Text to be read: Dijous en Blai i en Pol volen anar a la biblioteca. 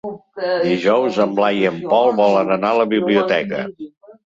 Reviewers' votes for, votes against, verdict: 0, 3, rejected